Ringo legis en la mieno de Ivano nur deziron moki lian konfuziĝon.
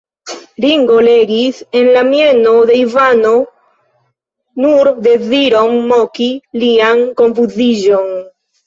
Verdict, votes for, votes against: rejected, 0, 2